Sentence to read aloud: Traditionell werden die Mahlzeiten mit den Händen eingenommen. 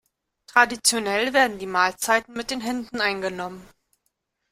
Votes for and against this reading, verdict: 2, 0, accepted